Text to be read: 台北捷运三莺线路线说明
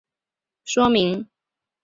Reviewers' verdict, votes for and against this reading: rejected, 1, 2